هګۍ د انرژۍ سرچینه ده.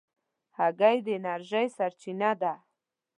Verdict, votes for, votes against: accepted, 2, 0